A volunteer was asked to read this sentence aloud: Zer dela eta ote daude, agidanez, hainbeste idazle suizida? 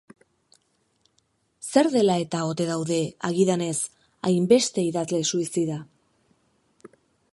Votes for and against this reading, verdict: 2, 0, accepted